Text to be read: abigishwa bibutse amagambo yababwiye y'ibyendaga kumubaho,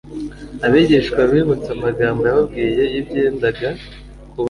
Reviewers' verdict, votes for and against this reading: rejected, 1, 2